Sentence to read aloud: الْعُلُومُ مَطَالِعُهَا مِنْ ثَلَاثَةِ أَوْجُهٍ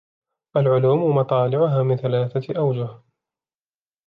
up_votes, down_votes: 2, 0